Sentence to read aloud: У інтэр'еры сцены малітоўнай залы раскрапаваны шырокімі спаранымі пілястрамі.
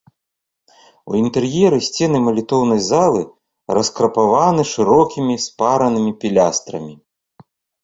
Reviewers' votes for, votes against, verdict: 2, 0, accepted